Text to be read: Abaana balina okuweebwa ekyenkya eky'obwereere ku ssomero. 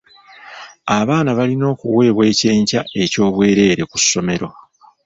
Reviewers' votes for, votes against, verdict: 2, 0, accepted